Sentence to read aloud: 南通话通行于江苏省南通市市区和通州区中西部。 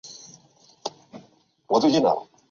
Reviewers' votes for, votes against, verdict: 0, 3, rejected